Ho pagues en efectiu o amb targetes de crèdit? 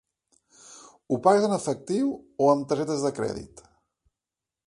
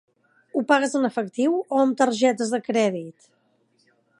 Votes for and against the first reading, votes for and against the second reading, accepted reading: 1, 2, 3, 0, second